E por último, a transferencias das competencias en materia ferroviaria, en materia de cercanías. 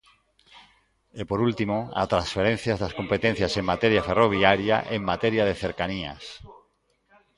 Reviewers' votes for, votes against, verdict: 0, 2, rejected